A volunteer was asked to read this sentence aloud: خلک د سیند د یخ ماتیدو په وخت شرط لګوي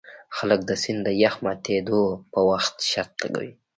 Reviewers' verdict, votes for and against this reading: rejected, 0, 2